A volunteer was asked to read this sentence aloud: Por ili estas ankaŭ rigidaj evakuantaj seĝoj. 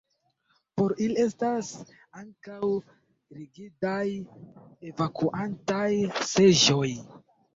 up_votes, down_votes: 1, 2